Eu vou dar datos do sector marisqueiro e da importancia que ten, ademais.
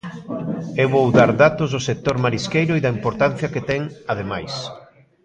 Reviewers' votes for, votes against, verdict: 2, 0, accepted